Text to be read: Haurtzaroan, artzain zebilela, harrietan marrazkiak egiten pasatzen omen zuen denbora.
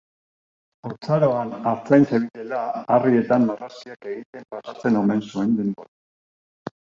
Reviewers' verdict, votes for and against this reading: rejected, 0, 2